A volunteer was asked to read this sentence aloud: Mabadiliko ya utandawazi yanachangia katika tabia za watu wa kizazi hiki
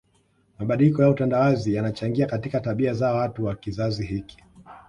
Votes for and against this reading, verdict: 2, 0, accepted